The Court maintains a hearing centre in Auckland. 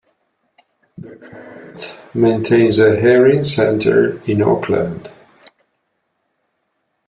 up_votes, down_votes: 0, 2